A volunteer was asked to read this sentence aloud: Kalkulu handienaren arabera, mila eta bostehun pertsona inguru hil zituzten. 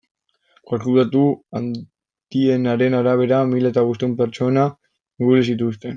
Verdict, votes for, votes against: rejected, 0, 2